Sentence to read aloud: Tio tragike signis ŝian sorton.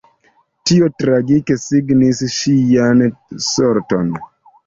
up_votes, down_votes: 2, 0